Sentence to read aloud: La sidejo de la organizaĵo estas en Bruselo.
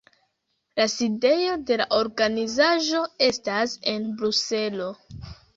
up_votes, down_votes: 2, 1